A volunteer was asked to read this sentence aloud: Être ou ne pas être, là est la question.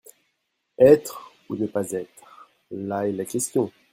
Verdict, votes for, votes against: accepted, 2, 0